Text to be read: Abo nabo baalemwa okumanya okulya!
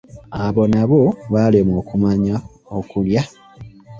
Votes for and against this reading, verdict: 0, 2, rejected